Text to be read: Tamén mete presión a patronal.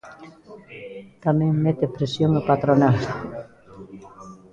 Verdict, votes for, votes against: accepted, 2, 1